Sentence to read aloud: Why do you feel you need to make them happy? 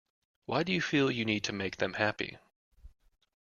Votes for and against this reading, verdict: 2, 0, accepted